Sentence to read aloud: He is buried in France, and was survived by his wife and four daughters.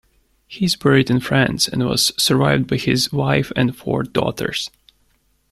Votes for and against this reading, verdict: 1, 2, rejected